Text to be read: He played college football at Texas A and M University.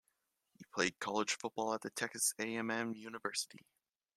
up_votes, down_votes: 1, 2